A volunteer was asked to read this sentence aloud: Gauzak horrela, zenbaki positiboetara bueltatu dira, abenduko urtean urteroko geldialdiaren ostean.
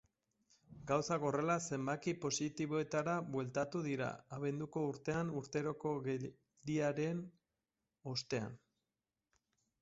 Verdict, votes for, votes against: rejected, 0, 2